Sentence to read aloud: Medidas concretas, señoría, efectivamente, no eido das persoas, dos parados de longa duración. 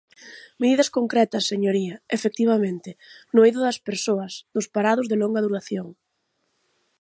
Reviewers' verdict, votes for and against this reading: accepted, 6, 0